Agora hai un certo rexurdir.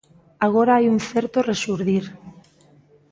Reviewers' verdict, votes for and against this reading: accepted, 2, 0